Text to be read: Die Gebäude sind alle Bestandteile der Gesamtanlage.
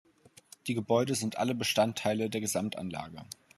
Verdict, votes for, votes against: accepted, 2, 0